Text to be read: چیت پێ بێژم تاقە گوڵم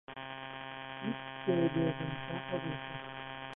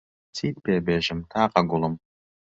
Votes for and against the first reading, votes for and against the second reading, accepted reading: 0, 2, 2, 0, second